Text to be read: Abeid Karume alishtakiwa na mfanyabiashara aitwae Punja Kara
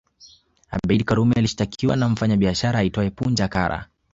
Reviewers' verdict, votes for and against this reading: accepted, 3, 1